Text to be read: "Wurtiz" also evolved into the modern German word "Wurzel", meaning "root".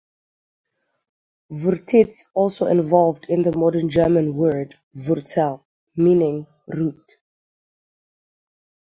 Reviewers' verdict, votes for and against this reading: rejected, 3, 3